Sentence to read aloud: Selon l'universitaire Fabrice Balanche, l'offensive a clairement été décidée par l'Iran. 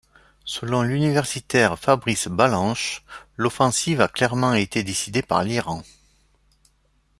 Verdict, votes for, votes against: accepted, 2, 0